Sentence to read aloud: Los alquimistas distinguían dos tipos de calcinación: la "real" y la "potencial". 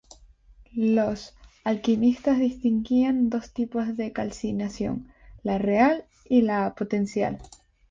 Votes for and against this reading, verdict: 2, 0, accepted